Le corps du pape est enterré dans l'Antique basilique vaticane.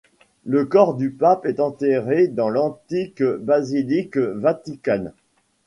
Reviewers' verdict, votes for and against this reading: accepted, 2, 1